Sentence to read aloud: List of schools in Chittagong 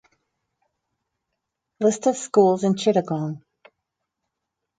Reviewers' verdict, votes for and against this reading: rejected, 0, 4